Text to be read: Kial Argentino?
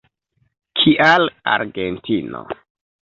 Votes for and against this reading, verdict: 2, 0, accepted